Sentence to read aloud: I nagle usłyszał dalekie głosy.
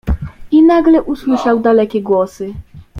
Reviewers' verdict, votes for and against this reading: accepted, 2, 0